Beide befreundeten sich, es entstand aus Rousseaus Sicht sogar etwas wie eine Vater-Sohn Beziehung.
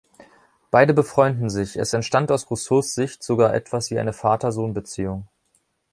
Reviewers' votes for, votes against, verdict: 1, 3, rejected